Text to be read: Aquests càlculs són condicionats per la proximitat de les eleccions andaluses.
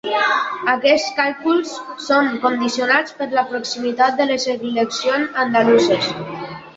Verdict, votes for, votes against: rejected, 1, 2